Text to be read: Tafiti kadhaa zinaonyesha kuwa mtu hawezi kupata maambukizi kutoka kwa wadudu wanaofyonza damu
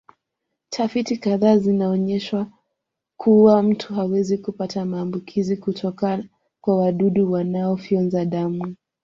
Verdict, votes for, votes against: accepted, 2, 0